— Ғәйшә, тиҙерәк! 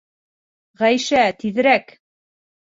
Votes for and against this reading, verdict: 2, 0, accepted